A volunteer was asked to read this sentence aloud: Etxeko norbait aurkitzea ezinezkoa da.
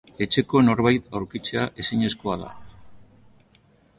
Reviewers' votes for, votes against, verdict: 2, 1, accepted